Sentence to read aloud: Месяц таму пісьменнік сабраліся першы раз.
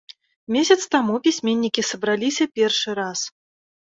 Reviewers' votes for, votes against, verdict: 0, 2, rejected